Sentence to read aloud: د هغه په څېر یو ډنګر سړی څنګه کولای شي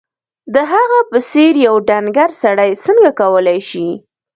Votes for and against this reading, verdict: 1, 2, rejected